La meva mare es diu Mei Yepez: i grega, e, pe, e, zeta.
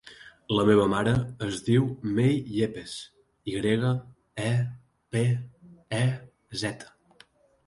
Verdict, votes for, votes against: accepted, 2, 0